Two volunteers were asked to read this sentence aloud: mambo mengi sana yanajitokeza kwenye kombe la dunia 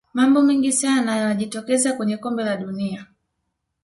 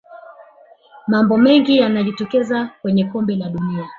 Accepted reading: first